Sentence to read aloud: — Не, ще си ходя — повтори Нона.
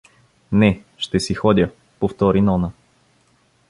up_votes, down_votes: 2, 0